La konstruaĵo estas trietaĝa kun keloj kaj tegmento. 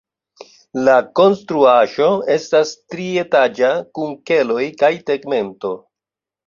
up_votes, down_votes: 2, 0